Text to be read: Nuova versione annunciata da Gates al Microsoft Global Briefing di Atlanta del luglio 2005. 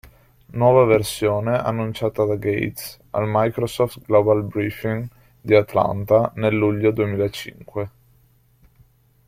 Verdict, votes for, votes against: rejected, 0, 2